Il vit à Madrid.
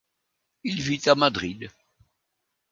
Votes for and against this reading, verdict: 2, 0, accepted